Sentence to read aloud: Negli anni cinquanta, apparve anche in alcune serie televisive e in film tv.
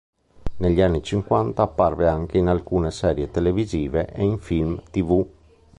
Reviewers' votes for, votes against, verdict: 2, 0, accepted